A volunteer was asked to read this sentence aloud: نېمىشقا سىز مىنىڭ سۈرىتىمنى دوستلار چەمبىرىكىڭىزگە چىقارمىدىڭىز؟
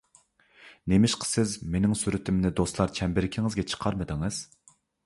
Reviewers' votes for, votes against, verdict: 2, 0, accepted